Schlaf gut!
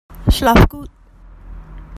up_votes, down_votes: 0, 2